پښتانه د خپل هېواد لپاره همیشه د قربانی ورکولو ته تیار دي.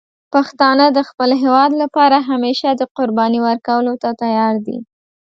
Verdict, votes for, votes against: accepted, 2, 0